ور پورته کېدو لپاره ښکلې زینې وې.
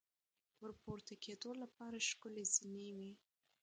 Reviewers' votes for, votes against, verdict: 2, 1, accepted